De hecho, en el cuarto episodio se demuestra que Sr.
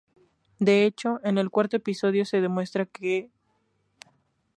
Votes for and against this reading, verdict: 0, 2, rejected